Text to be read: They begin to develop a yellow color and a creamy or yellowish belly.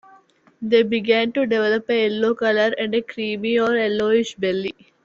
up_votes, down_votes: 1, 2